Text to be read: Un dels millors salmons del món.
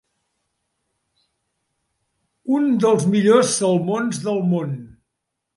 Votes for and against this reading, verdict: 2, 0, accepted